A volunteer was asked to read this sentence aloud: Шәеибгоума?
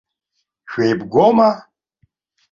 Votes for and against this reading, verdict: 2, 0, accepted